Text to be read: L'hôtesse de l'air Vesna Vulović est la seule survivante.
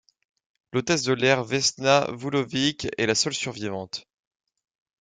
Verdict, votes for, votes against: accepted, 3, 0